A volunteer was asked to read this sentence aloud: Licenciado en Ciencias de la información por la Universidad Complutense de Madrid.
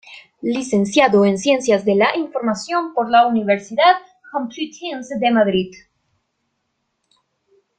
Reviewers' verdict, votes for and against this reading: rejected, 0, 2